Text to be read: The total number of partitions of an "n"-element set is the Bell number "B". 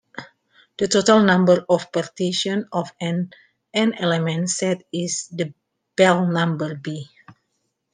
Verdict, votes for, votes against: accepted, 2, 1